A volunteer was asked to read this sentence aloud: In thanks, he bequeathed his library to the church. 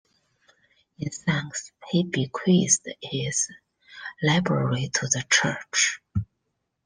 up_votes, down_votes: 2, 1